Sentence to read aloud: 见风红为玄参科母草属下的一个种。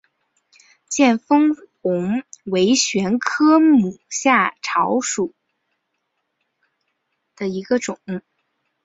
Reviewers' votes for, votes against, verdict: 1, 3, rejected